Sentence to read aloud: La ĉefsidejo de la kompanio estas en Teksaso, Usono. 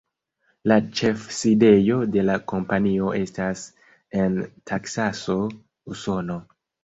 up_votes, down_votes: 1, 3